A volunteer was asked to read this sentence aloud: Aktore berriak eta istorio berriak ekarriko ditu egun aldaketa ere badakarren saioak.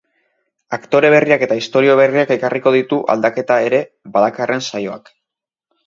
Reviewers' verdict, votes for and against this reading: rejected, 0, 2